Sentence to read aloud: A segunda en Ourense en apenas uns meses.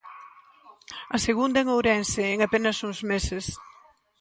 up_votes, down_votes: 2, 0